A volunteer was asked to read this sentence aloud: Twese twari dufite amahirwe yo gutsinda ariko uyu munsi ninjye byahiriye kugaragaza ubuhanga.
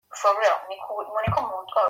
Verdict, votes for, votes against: rejected, 0, 2